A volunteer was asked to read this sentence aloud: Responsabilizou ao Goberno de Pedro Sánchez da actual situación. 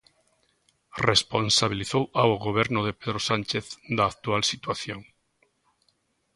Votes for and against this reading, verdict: 3, 0, accepted